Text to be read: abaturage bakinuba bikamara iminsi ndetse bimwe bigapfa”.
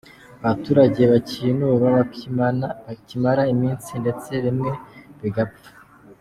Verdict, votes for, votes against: rejected, 1, 2